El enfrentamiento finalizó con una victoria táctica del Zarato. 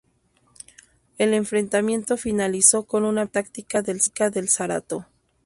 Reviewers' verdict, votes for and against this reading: rejected, 0, 6